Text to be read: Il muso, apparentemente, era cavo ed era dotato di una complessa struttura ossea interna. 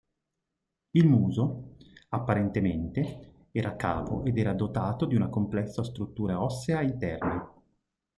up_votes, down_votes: 2, 0